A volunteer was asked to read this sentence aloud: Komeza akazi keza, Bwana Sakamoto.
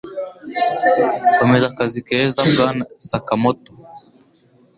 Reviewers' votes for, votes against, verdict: 2, 0, accepted